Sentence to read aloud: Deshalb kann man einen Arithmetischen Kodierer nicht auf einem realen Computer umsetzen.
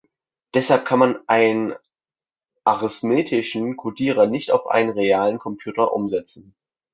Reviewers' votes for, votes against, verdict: 0, 2, rejected